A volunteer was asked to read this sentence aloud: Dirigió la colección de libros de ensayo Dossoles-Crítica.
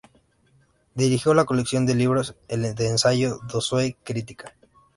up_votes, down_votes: 0, 2